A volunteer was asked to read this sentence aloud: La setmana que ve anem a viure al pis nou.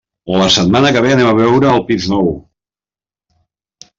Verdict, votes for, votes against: rejected, 1, 2